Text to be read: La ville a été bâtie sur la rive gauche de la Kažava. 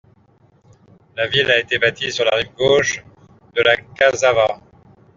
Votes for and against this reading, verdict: 2, 0, accepted